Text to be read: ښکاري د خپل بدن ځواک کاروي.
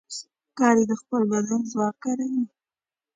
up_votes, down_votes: 2, 0